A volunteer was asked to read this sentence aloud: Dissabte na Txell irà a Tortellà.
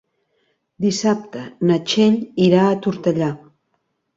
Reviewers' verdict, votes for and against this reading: accepted, 3, 0